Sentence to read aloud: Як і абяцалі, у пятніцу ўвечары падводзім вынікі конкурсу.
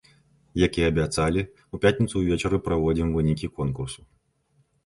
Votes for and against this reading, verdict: 0, 2, rejected